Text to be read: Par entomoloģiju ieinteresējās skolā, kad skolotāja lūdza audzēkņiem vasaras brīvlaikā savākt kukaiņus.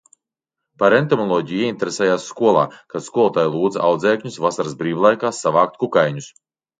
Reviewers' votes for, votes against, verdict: 0, 2, rejected